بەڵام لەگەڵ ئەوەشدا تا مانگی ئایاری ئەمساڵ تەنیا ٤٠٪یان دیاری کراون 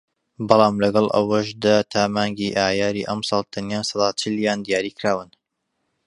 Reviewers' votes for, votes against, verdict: 0, 2, rejected